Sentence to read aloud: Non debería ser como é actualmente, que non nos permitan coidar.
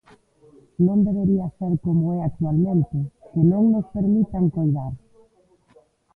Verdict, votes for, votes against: rejected, 0, 2